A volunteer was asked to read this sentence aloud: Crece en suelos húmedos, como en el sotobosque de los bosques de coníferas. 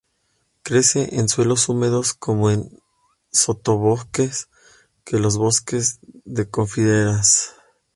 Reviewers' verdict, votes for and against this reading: rejected, 0, 2